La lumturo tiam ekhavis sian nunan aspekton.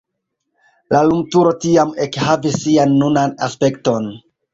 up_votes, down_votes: 2, 1